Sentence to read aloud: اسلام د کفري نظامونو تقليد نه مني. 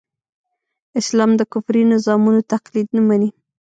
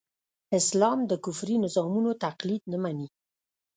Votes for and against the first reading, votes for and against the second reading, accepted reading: 1, 2, 2, 0, second